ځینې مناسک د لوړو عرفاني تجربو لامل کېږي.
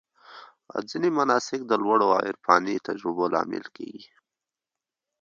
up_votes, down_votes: 1, 2